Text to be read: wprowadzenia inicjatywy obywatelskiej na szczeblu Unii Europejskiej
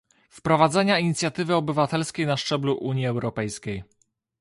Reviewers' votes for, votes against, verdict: 2, 0, accepted